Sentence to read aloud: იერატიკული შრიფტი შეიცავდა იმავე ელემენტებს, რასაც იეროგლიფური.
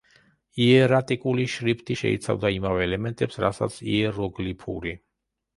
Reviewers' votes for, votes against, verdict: 2, 0, accepted